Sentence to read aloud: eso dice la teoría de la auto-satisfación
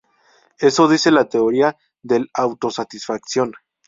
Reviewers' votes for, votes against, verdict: 0, 2, rejected